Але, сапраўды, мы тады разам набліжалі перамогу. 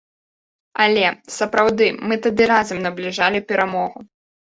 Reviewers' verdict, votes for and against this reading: accepted, 2, 0